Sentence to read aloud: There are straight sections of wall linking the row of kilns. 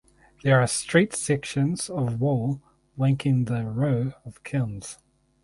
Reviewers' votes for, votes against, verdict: 0, 2, rejected